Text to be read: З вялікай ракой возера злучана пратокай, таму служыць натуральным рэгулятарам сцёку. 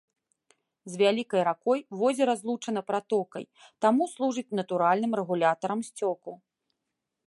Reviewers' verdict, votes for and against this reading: accepted, 2, 0